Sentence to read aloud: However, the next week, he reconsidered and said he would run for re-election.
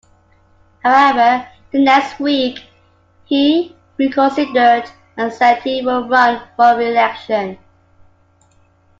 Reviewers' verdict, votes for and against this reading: accepted, 2, 1